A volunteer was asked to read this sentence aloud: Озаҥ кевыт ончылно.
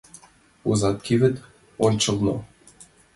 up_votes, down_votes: 2, 0